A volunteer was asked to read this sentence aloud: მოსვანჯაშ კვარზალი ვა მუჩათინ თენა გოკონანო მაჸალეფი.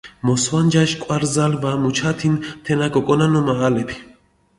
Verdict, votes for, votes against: accepted, 2, 0